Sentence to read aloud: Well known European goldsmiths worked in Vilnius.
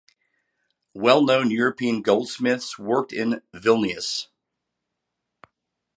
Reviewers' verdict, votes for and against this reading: accepted, 3, 0